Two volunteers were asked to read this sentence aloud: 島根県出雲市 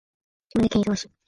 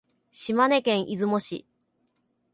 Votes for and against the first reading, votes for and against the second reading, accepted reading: 1, 2, 2, 0, second